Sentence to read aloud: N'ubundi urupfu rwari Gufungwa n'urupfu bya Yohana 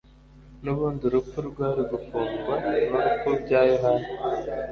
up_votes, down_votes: 2, 0